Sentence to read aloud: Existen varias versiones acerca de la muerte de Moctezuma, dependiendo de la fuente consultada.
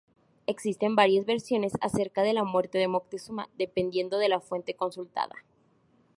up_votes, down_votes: 2, 2